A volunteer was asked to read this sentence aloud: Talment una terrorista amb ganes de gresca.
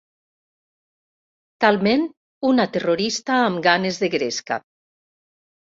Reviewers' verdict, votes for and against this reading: accepted, 3, 0